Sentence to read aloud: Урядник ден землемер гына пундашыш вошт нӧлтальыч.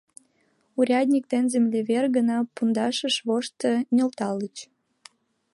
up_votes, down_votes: 1, 2